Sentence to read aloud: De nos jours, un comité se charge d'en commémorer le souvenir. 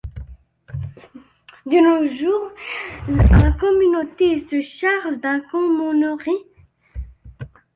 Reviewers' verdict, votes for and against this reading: rejected, 0, 3